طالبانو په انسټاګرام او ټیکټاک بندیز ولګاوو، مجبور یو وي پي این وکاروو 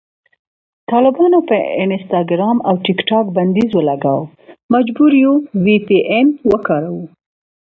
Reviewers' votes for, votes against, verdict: 2, 0, accepted